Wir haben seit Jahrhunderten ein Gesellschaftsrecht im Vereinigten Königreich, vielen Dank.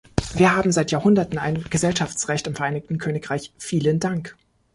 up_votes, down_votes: 2, 0